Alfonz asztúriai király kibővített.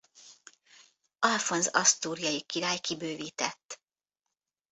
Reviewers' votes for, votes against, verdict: 1, 2, rejected